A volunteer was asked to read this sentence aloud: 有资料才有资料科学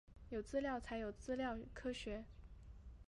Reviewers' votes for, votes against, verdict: 0, 2, rejected